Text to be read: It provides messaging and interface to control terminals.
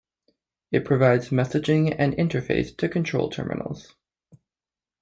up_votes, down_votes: 2, 0